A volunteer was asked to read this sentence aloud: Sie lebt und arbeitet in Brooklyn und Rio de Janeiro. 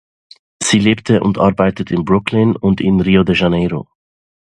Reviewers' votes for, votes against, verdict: 0, 2, rejected